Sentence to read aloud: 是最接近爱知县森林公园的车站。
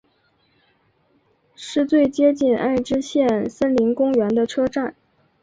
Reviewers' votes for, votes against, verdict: 5, 0, accepted